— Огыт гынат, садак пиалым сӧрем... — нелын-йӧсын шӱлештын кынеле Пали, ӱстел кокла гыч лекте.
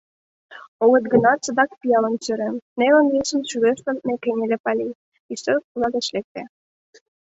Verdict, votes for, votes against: rejected, 1, 2